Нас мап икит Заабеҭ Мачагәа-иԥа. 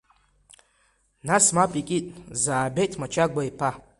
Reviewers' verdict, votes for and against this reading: accepted, 2, 1